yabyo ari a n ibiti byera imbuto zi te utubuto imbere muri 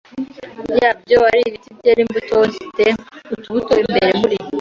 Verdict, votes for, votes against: rejected, 1, 2